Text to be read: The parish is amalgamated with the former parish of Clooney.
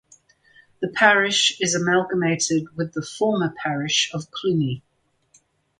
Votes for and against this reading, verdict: 4, 0, accepted